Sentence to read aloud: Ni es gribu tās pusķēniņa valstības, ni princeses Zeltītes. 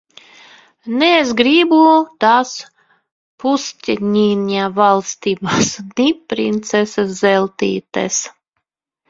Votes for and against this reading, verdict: 1, 2, rejected